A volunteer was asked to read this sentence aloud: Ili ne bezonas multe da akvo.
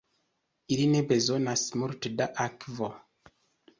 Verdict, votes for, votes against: accepted, 2, 0